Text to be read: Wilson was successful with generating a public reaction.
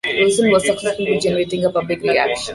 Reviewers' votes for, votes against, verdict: 0, 2, rejected